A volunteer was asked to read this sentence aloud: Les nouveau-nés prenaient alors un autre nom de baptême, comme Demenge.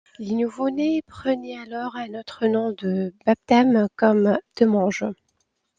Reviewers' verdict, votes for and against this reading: accepted, 2, 0